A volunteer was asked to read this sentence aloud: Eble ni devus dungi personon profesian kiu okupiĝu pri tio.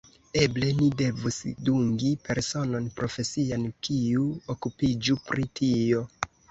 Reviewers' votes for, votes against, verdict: 0, 2, rejected